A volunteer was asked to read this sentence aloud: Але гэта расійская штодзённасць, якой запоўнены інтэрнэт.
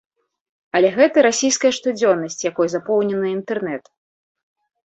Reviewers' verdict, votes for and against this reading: accepted, 2, 0